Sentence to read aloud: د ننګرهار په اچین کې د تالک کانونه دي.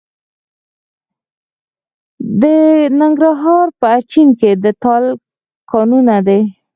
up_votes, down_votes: 0, 4